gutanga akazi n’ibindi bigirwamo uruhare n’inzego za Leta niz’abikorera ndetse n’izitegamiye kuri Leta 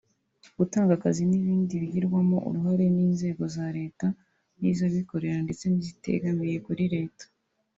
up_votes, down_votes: 2, 0